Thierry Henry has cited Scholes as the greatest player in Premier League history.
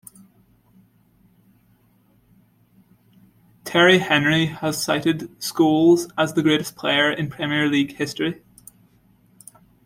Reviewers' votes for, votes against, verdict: 2, 0, accepted